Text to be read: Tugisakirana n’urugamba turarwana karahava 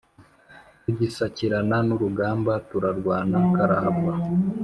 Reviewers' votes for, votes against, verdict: 2, 0, accepted